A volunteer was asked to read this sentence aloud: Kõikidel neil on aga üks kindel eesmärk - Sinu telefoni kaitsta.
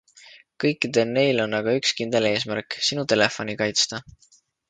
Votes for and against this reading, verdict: 2, 0, accepted